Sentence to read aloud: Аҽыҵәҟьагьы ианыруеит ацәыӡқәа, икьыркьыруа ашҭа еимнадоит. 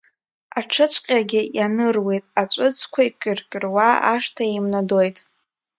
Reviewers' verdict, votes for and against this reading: rejected, 1, 2